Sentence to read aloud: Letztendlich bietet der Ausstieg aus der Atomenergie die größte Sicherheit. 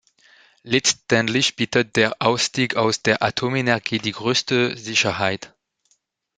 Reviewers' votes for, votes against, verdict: 1, 2, rejected